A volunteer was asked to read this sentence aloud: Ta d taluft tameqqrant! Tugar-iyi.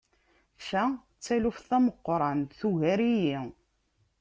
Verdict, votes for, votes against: accepted, 2, 0